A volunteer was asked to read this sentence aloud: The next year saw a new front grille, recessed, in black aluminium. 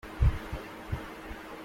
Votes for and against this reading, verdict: 0, 2, rejected